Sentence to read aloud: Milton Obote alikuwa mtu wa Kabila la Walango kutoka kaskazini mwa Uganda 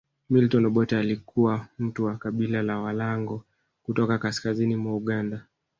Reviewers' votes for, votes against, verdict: 0, 2, rejected